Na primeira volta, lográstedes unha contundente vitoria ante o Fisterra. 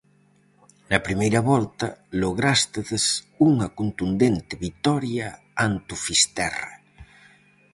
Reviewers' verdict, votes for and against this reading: accepted, 4, 0